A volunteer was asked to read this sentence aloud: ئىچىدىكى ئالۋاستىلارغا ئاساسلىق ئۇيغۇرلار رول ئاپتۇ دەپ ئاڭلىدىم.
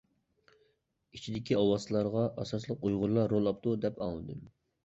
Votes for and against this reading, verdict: 2, 0, accepted